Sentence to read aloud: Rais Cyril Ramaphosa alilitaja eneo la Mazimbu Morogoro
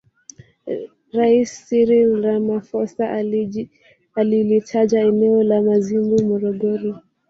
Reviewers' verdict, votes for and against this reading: rejected, 1, 2